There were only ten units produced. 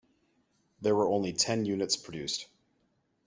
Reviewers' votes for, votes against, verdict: 2, 0, accepted